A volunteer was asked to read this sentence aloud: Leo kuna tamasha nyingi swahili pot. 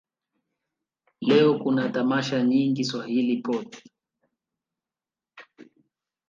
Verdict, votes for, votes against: rejected, 1, 2